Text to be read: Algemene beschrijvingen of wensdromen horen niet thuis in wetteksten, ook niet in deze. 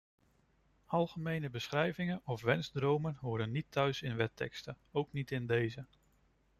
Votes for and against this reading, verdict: 2, 0, accepted